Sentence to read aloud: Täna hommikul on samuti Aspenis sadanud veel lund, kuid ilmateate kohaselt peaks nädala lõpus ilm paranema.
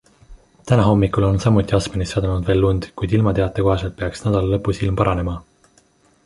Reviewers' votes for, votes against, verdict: 2, 0, accepted